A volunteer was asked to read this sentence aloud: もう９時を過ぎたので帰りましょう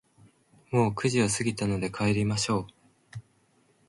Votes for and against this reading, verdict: 0, 2, rejected